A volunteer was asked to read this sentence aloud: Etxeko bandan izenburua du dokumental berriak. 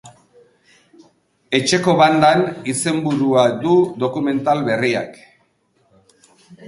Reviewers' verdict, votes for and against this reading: accepted, 2, 1